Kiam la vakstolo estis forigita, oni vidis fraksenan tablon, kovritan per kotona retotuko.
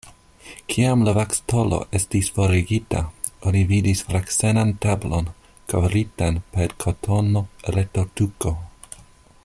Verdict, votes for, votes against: rejected, 0, 2